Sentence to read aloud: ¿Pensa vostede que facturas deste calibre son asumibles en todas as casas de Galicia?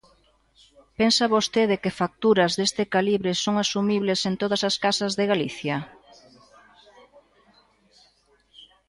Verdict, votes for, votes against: accepted, 2, 0